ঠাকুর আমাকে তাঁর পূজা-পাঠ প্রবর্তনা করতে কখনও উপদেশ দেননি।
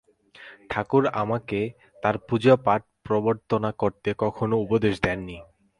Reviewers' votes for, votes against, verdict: 4, 4, rejected